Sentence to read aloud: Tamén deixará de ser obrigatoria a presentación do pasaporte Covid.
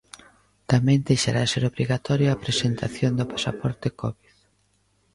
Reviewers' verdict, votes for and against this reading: rejected, 0, 2